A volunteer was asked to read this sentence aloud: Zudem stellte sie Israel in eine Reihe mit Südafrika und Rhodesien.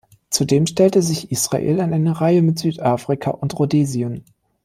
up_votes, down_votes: 2, 5